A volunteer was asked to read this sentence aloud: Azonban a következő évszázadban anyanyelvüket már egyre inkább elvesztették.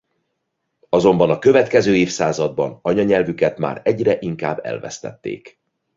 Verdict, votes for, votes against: accepted, 2, 0